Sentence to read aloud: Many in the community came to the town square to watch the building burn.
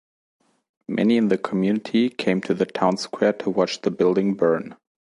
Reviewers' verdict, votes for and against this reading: accepted, 2, 0